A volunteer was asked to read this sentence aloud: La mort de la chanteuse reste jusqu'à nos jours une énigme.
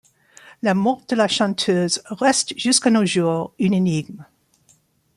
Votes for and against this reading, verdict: 2, 1, accepted